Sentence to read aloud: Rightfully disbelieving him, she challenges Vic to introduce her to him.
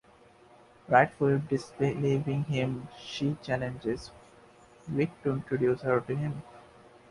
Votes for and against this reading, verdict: 2, 1, accepted